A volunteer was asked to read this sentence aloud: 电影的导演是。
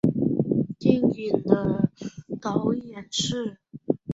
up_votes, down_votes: 3, 1